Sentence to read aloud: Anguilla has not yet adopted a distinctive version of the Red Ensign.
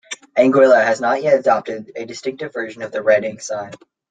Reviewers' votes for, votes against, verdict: 2, 0, accepted